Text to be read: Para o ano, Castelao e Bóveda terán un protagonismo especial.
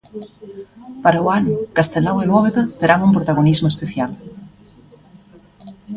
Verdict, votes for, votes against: rejected, 0, 2